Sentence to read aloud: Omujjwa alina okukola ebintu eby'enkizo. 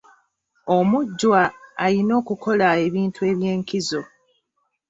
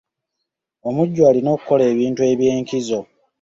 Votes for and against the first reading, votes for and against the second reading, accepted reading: 1, 2, 2, 1, second